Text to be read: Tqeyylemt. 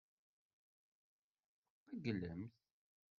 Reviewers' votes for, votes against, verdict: 1, 2, rejected